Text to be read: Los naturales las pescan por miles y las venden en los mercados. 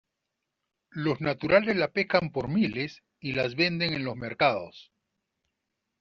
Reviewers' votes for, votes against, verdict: 1, 2, rejected